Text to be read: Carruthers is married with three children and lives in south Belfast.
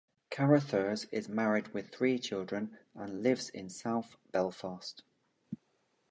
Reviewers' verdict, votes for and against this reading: accepted, 2, 0